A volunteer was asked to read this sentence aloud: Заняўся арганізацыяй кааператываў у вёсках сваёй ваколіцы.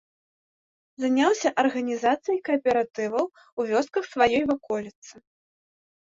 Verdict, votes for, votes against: accepted, 2, 0